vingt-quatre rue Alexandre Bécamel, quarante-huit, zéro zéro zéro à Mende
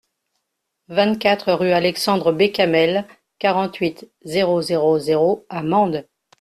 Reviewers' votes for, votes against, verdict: 2, 0, accepted